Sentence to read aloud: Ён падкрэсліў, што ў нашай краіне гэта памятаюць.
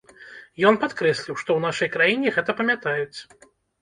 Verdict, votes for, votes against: rejected, 1, 2